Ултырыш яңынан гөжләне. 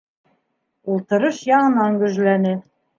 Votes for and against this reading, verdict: 2, 0, accepted